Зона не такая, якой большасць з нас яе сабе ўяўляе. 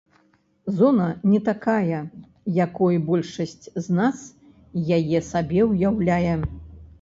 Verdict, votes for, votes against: accepted, 2, 0